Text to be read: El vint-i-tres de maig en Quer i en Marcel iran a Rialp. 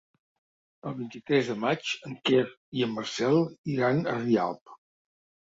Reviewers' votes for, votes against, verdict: 3, 0, accepted